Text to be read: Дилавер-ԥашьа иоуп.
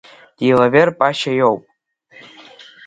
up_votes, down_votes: 1, 3